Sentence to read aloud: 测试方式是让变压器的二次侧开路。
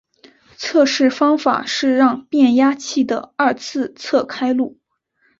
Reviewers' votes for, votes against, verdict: 1, 2, rejected